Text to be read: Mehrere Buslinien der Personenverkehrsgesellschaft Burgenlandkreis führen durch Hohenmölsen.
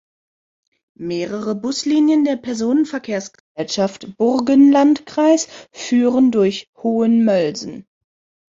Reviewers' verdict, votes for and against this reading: accepted, 2, 1